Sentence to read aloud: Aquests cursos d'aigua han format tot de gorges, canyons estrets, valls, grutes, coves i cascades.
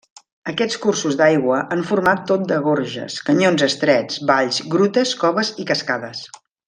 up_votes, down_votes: 3, 0